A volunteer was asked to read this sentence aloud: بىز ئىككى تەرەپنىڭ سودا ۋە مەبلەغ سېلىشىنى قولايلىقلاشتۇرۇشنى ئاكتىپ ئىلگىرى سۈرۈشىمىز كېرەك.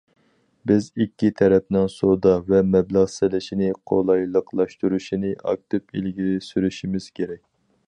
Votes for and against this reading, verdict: 4, 0, accepted